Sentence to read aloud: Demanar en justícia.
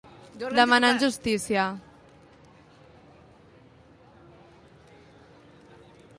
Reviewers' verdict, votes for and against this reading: rejected, 1, 2